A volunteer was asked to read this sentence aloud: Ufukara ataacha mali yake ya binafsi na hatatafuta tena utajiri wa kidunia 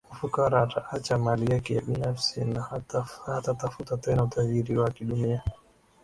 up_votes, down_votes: 1, 2